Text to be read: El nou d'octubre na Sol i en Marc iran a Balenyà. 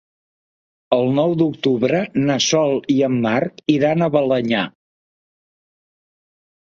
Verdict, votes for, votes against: accepted, 3, 0